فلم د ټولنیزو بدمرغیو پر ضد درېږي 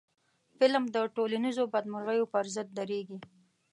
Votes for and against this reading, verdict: 2, 0, accepted